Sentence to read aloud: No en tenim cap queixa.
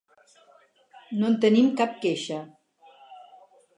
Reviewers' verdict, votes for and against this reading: accepted, 4, 0